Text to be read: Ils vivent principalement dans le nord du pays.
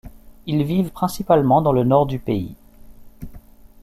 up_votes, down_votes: 2, 0